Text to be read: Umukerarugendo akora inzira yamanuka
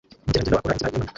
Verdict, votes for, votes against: rejected, 0, 2